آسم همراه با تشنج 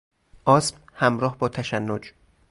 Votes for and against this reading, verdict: 2, 0, accepted